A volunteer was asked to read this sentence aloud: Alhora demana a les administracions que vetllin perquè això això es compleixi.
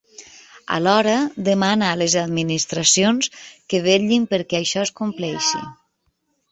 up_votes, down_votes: 1, 2